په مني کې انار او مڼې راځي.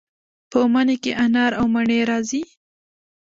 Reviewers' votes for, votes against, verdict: 2, 0, accepted